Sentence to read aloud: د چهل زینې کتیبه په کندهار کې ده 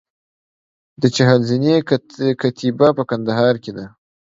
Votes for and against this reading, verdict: 2, 0, accepted